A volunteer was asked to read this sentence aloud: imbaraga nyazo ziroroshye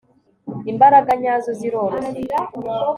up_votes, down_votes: 2, 0